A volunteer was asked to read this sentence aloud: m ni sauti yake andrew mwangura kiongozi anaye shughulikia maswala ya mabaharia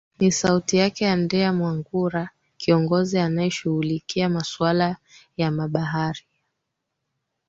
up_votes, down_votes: 3, 1